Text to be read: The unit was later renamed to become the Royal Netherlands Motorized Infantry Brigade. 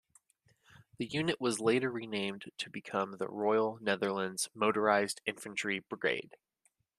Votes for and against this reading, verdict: 2, 0, accepted